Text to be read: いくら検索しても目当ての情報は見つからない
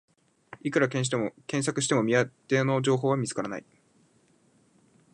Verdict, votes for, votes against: rejected, 1, 2